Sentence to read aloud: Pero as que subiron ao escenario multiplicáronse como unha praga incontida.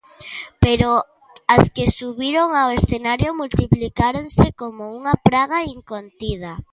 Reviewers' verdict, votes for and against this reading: accepted, 2, 0